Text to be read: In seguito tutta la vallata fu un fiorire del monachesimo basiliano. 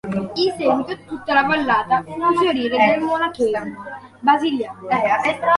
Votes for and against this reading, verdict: 0, 2, rejected